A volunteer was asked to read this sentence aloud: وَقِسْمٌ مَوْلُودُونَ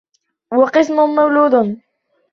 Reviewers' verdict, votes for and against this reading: rejected, 1, 2